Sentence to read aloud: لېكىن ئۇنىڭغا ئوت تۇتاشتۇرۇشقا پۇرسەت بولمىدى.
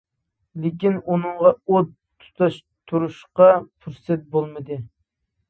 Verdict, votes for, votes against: rejected, 1, 2